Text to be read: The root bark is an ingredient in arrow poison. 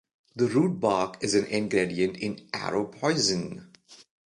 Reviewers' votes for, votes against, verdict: 2, 1, accepted